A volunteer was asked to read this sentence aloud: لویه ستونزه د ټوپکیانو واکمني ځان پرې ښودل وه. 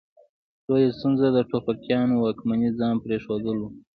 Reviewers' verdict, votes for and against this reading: accepted, 2, 0